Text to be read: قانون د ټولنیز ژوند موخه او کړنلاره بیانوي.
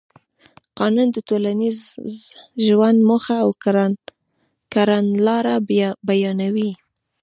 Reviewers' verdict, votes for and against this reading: accepted, 2, 0